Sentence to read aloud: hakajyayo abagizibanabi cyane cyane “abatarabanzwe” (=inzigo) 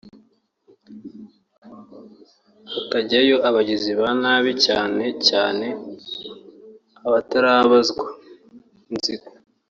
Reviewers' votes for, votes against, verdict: 1, 2, rejected